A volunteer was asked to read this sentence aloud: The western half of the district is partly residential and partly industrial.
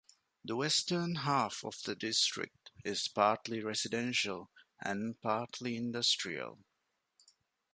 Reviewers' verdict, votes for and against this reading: accepted, 2, 0